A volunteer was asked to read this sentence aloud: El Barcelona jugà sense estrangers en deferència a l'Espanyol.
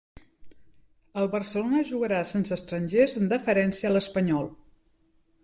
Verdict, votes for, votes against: rejected, 0, 2